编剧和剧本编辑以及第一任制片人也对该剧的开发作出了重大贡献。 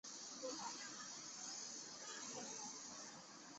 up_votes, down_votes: 0, 2